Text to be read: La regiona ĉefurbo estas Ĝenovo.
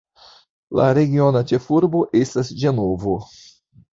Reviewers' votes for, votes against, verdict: 1, 2, rejected